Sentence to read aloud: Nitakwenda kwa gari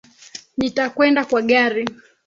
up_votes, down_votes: 2, 1